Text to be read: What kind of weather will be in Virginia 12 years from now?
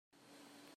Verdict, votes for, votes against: rejected, 0, 2